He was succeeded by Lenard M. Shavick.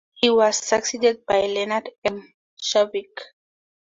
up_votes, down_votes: 2, 0